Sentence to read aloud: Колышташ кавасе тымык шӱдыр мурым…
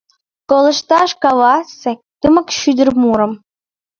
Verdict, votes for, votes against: rejected, 1, 2